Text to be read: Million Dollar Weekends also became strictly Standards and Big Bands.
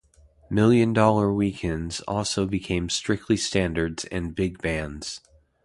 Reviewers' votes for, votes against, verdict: 2, 0, accepted